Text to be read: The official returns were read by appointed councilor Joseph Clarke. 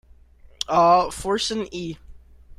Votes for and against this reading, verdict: 0, 2, rejected